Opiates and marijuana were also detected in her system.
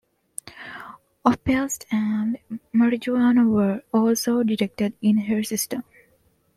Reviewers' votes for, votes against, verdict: 2, 1, accepted